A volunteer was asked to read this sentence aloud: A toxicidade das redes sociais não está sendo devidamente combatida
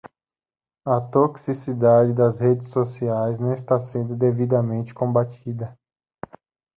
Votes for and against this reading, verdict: 2, 0, accepted